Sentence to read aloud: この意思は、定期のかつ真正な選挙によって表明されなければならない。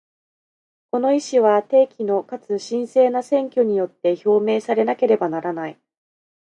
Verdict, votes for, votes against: accepted, 2, 0